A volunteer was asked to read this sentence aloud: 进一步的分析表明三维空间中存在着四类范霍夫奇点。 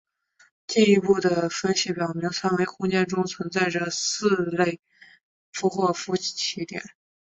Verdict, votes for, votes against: accepted, 2, 0